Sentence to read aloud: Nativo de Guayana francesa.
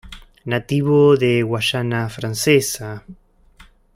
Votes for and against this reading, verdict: 1, 2, rejected